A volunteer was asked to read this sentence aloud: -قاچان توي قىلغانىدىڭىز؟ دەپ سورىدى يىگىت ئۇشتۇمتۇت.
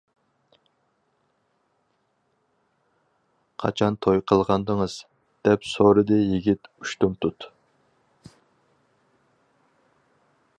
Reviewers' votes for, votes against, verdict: 4, 0, accepted